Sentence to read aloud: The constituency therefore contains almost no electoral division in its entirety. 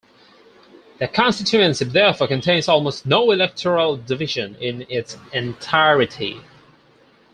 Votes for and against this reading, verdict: 4, 0, accepted